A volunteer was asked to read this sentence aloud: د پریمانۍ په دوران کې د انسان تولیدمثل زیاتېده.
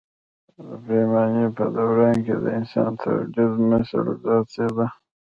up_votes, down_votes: 0, 2